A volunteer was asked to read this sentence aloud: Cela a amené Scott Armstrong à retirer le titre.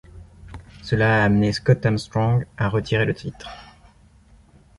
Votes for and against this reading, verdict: 2, 0, accepted